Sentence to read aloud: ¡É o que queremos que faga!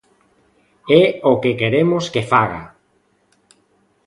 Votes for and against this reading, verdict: 2, 0, accepted